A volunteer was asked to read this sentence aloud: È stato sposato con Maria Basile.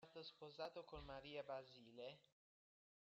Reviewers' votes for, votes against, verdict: 1, 2, rejected